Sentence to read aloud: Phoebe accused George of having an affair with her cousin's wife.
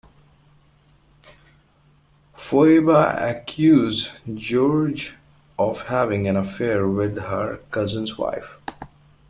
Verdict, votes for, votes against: rejected, 1, 2